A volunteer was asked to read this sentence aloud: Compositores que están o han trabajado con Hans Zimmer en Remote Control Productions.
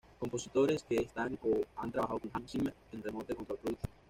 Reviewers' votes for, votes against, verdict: 1, 2, rejected